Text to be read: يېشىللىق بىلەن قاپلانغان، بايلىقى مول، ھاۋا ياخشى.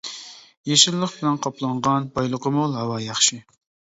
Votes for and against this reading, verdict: 2, 0, accepted